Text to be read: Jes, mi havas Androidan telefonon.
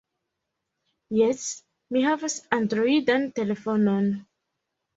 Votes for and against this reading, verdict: 2, 0, accepted